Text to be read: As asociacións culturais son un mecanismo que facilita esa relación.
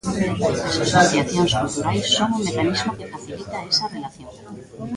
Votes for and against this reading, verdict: 0, 2, rejected